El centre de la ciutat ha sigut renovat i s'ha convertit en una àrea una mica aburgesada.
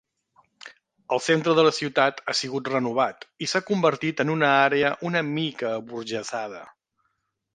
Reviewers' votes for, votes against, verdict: 3, 0, accepted